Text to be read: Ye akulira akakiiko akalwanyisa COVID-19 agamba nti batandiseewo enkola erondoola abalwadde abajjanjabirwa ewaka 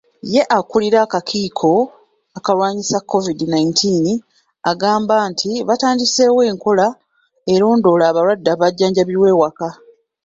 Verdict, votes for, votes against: rejected, 0, 2